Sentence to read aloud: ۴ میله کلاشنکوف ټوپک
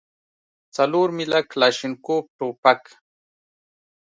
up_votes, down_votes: 0, 2